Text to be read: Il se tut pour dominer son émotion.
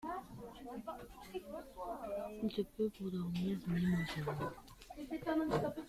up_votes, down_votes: 0, 3